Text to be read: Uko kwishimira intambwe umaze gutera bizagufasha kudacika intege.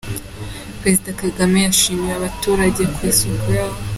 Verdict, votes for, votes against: rejected, 0, 3